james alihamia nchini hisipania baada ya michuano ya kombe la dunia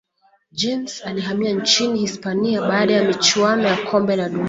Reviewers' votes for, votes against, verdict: 0, 2, rejected